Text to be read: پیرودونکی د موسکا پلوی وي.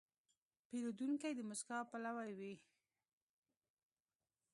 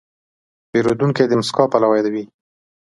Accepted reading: second